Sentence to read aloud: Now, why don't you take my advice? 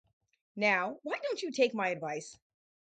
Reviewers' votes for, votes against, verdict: 0, 2, rejected